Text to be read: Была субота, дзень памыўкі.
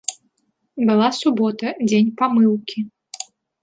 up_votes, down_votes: 2, 1